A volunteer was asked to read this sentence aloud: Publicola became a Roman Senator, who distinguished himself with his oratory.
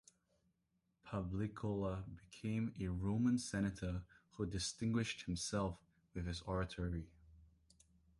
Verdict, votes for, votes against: rejected, 1, 2